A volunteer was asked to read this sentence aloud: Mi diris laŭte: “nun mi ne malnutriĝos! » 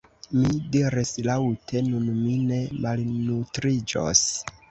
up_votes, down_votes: 2, 0